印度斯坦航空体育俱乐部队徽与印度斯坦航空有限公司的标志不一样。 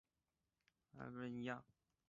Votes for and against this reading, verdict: 0, 5, rejected